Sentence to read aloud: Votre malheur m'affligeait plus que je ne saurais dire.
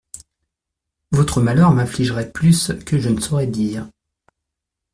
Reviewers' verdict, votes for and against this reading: rejected, 0, 2